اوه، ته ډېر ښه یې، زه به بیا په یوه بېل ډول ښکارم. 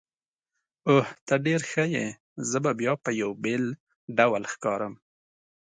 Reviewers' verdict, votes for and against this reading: accepted, 2, 0